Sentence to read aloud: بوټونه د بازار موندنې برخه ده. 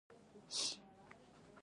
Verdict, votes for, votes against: rejected, 1, 2